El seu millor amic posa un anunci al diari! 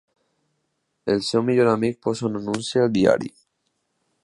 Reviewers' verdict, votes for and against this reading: accepted, 2, 0